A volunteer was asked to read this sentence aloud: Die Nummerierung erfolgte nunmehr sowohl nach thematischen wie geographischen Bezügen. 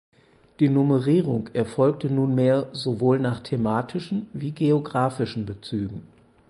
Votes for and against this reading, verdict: 4, 0, accepted